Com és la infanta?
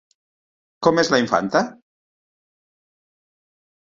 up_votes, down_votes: 4, 0